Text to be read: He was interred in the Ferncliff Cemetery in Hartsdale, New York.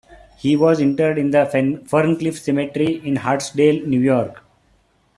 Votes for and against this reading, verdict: 1, 2, rejected